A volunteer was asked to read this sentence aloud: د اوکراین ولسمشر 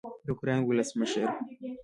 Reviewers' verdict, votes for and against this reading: accepted, 2, 1